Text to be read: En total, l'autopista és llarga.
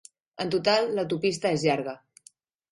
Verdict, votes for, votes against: accepted, 3, 0